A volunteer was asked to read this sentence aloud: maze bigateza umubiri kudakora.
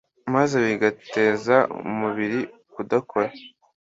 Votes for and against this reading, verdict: 2, 0, accepted